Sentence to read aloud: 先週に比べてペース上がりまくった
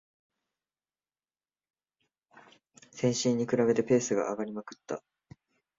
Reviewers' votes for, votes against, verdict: 2, 1, accepted